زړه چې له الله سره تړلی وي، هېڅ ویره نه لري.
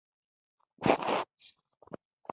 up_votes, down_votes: 0, 2